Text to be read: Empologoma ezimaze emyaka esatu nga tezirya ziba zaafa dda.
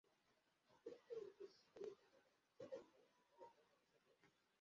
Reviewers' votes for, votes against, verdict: 0, 2, rejected